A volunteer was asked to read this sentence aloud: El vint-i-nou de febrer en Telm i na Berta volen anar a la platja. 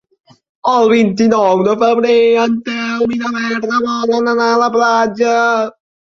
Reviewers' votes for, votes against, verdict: 2, 3, rejected